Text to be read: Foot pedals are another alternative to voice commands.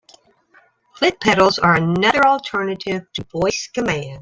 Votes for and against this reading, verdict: 0, 2, rejected